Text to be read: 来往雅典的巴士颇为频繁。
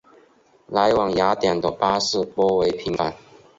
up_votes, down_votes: 2, 0